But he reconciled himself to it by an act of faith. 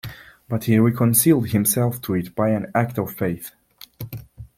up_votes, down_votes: 0, 2